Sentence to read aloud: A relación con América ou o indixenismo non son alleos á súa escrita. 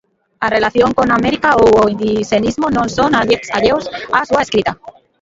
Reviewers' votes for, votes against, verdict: 0, 2, rejected